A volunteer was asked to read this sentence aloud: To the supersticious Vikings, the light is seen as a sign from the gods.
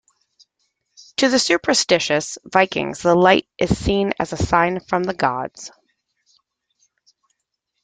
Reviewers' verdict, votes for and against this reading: accepted, 2, 0